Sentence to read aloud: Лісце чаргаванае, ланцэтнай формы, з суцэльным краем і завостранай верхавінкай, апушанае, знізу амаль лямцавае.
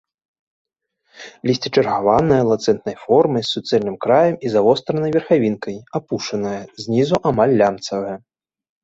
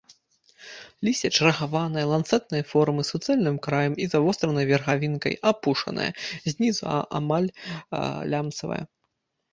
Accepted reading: first